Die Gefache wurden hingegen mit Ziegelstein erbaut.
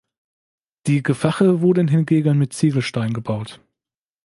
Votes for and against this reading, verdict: 2, 0, accepted